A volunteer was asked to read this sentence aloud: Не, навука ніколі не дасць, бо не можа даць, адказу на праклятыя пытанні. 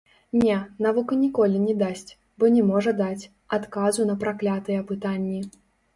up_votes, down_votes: 1, 2